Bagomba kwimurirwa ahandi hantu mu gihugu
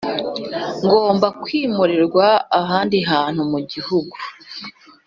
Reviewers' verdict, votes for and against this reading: rejected, 1, 2